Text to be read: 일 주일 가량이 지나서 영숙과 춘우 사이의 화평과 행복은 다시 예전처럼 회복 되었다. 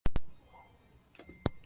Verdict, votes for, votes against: rejected, 0, 2